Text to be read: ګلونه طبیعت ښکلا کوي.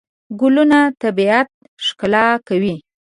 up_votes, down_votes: 2, 0